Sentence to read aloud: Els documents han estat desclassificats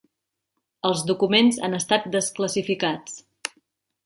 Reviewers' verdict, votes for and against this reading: accepted, 2, 0